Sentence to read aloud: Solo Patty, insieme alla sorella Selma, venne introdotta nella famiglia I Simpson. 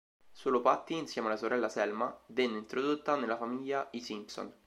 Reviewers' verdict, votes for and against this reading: accepted, 3, 0